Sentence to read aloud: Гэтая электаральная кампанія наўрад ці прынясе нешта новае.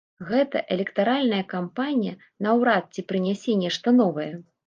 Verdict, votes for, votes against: accepted, 2, 0